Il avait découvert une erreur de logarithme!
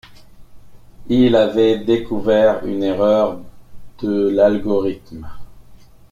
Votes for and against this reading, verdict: 0, 2, rejected